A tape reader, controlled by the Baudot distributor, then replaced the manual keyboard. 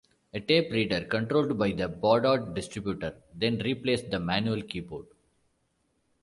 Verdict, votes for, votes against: accepted, 2, 0